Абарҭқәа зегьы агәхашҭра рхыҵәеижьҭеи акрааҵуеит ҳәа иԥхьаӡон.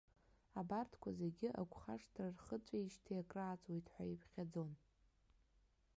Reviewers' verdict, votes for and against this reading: rejected, 1, 2